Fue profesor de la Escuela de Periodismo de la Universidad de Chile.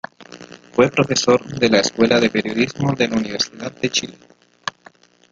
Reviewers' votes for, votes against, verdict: 0, 2, rejected